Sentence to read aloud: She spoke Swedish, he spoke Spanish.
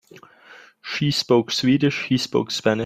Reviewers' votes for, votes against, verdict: 0, 2, rejected